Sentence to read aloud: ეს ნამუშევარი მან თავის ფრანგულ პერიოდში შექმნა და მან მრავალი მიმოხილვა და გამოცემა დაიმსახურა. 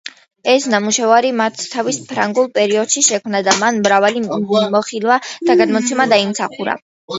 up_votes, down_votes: 1, 2